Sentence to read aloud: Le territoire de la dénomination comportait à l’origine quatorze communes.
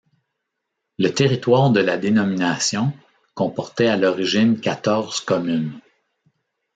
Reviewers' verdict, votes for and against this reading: accepted, 2, 0